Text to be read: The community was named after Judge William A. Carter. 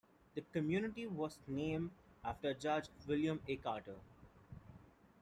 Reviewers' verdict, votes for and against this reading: rejected, 1, 2